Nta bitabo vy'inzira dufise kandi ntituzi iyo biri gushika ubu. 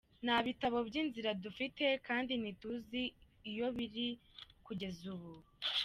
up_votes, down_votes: 1, 2